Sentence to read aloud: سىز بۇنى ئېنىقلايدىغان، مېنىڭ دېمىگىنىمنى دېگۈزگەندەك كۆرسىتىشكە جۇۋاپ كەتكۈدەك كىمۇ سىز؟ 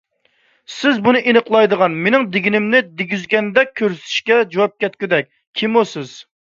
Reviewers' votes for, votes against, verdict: 2, 1, accepted